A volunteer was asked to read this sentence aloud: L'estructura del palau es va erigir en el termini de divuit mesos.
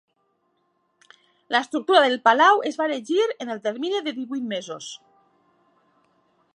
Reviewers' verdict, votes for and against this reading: accepted, 2, 0